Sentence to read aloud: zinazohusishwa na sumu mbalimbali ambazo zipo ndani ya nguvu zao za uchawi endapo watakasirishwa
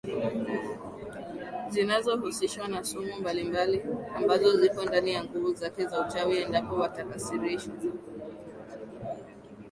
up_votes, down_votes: 0, 2